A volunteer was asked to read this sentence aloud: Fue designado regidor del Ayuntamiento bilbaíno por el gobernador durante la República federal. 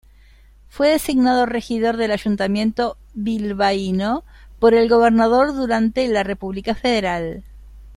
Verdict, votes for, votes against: rejected, 0, 2